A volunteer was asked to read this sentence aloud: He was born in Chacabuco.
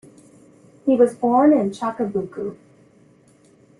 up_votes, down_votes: 0, 2